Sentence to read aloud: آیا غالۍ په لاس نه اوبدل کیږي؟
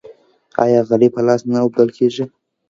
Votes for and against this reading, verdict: 3, 2, accepted